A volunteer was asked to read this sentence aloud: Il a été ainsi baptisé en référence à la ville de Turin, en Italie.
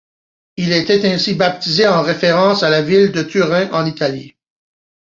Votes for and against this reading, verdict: 2, 0, accepted